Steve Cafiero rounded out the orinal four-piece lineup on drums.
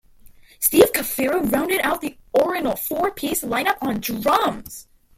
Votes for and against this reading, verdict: 2, 1, accepted